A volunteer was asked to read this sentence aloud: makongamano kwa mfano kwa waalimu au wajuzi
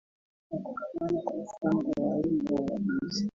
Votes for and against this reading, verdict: 0, 3, rejected